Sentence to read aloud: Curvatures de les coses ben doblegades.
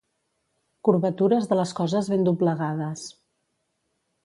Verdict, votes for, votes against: accepted, 2, 0